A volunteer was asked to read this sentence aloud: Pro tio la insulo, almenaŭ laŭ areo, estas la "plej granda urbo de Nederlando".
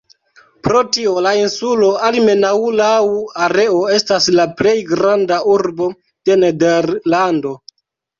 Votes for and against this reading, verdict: 0, 2, rejected